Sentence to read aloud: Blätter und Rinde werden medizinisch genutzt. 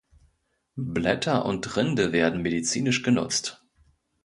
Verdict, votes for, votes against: accepted, 2, 0